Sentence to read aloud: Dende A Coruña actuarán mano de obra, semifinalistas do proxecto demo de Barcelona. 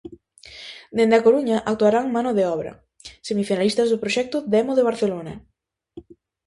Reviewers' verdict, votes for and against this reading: accepted, 2, 0